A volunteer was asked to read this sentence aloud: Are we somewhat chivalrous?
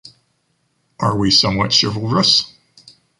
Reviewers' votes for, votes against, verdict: 3, 1, accepted